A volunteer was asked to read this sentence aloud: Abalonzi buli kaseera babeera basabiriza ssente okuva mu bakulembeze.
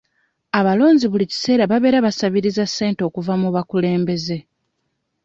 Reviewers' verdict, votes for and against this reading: accepted, 2, 0